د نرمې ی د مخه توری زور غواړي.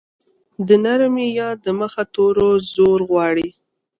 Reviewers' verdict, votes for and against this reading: accepted, 2, 1